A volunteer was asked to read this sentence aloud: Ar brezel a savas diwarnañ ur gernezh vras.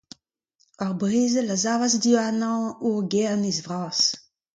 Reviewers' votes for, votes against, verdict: 2, 0, accepted